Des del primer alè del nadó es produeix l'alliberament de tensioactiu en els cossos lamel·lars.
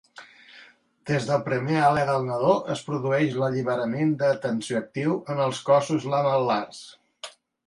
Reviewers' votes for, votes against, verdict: 2, 1, accepted